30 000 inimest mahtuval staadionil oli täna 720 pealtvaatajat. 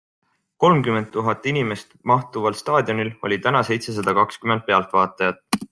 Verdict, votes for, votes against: rejected, 0, 2